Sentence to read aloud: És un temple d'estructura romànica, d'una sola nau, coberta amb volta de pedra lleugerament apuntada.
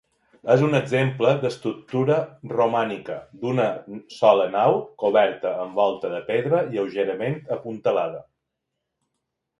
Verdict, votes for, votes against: rejected, 1, 2